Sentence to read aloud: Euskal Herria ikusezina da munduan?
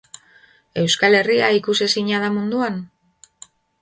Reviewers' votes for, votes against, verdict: 2, 0, accepted